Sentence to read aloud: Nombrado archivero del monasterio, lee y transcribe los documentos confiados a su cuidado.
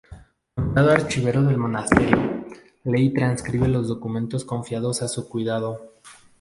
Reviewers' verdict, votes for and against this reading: rejected, 2, 2